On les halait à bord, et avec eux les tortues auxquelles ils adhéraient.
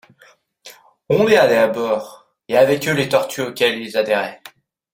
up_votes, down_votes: 2, 0